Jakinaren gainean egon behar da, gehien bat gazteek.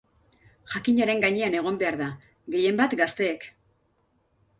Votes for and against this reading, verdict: 2, 0, accepted